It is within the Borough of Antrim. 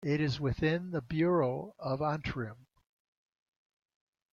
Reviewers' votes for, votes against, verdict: 1, 2, rejected